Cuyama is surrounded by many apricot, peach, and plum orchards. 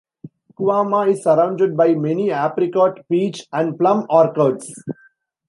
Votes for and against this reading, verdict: 1, 2, rejected